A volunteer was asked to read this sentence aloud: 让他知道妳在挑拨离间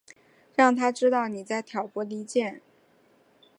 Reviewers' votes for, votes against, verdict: 2, 0, accepted